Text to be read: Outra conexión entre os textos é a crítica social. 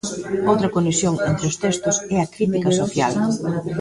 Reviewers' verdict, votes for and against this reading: rejected, 1, 2